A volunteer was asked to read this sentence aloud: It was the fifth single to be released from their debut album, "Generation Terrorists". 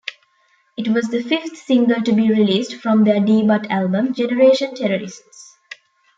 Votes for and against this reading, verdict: 0, 2, rejected